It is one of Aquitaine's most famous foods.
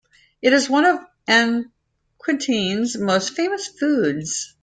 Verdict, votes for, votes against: rejected, 0, 2